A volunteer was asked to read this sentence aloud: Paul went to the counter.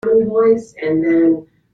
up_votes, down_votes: 0, 2